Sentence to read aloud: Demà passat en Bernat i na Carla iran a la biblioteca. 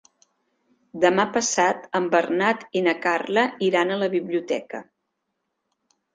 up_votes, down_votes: 3, 0